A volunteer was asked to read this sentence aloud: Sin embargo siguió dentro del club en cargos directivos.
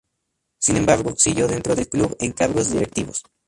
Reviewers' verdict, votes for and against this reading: accepted, 4, 0